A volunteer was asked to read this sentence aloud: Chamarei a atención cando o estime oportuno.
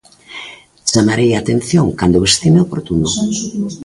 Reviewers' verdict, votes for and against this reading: rejected, 1, 2